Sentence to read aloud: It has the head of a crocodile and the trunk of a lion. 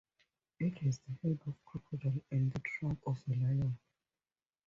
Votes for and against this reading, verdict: 0, 2, rejected